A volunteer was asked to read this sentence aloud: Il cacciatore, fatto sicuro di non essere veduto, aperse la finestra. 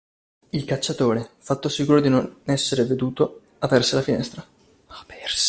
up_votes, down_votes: 0, 2